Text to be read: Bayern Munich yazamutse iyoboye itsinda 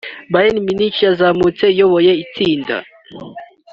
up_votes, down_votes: 2, 0